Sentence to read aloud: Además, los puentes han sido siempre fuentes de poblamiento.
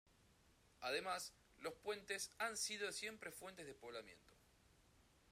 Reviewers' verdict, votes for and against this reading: rejected, 0, 2